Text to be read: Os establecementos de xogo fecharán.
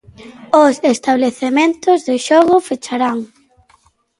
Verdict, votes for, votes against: rejected, 0, 2